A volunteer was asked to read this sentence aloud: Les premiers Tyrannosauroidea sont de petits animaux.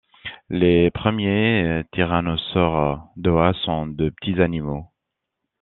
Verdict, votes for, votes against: rejected, 1, 2